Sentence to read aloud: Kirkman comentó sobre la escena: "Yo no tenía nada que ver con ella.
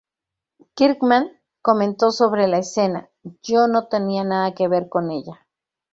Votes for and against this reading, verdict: 0, 2, rejected